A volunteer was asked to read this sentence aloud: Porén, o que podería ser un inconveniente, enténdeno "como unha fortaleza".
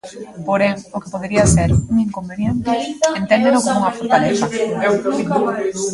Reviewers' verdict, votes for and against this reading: rejected, 0, 2